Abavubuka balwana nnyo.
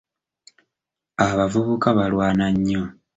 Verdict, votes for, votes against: accepted, 2, 0